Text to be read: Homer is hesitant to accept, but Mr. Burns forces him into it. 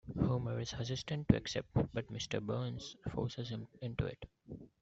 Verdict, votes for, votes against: accepted, 2, 0